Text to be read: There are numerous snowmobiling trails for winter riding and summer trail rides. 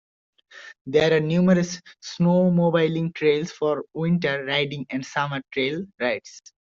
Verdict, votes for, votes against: accepted, 2, 0